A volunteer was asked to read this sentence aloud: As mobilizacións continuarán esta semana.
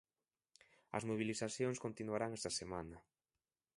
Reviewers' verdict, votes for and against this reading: rejected, 1, 2